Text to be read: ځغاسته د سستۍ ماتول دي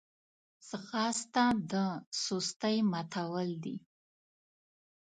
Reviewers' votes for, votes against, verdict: 2, 0, accepted